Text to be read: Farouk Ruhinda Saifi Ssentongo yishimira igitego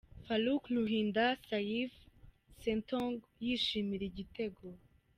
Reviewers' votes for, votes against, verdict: 2, 0, accepted